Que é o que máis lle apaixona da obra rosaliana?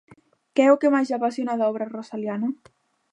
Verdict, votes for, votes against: rejected, 0, 2